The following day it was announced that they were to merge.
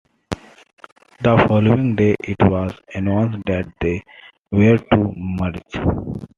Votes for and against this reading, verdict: 2, 1, accepted